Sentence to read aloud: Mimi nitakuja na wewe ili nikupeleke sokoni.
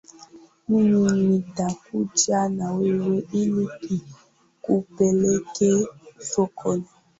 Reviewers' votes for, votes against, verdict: 1, 3, rejected